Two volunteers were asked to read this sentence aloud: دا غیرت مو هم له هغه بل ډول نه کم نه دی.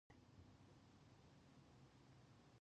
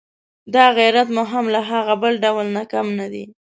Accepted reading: second